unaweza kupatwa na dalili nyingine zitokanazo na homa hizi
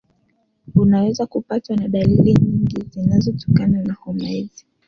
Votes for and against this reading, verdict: 2, 1, accepted